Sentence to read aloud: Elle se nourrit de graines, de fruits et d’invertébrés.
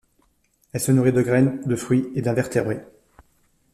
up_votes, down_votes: 1, 2